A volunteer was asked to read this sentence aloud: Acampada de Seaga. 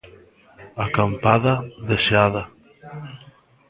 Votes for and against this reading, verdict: 1, 2, rejected